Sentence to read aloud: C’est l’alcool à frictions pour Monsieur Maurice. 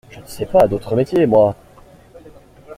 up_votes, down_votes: 0, 2